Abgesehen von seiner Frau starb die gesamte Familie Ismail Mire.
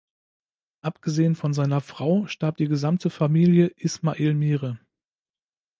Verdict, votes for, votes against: accepted, 2, 0